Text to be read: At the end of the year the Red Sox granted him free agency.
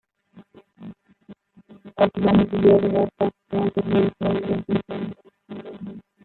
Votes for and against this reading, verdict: 0, 2, rejected